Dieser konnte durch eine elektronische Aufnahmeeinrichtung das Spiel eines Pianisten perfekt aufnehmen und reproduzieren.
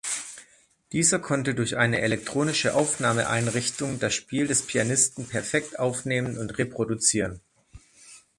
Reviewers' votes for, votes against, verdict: 2, 3, rejected